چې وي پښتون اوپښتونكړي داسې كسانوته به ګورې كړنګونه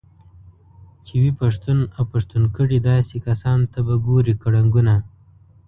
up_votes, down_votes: 2, 0